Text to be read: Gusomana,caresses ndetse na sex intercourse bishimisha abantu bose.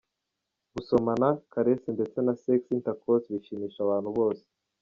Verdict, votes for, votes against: accepted, 2, 1